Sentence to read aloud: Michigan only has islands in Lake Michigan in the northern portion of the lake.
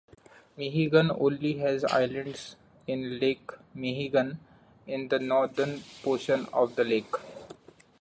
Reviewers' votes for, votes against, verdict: 0, 2, rejected